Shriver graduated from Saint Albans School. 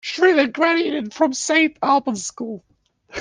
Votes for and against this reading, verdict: 1, 2, rejected